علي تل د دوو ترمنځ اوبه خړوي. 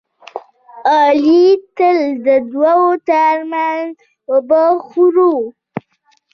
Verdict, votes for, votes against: rejected, 0, 2